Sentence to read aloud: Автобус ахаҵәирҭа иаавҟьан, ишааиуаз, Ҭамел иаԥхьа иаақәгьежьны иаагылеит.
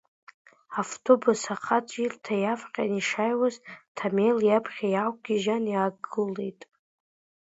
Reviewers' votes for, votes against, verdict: 2, 0, accepted